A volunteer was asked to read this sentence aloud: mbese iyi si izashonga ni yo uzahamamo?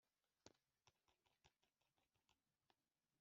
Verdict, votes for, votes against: rejected, 1, 3